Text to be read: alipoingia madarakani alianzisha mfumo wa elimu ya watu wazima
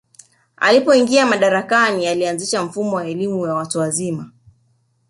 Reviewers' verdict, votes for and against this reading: accepted, 2, 0